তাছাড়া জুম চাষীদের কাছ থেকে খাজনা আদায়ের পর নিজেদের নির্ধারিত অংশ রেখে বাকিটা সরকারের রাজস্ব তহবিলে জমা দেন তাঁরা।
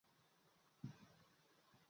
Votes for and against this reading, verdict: 0, 2, rejected